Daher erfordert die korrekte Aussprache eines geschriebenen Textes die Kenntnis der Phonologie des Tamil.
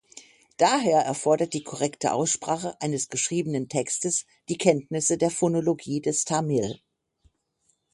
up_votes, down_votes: 0, 6